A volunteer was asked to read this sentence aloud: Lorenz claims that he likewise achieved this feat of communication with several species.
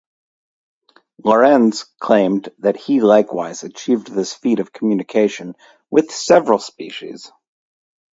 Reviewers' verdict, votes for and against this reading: rejected, 0, 2